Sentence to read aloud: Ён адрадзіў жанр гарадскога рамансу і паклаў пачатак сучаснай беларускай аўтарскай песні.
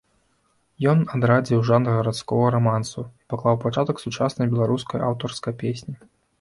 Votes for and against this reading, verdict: 1, 2, rejected